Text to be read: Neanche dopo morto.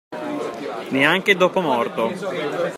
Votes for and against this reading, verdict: 2, 0, accepted